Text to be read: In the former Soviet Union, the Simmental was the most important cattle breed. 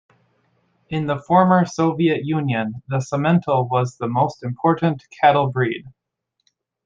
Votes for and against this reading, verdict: 2, 0, accepted